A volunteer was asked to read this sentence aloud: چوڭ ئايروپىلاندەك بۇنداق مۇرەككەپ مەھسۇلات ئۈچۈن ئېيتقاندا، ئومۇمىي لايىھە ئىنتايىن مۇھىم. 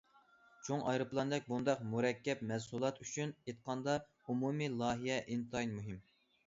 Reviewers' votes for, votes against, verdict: 2, 0, accepted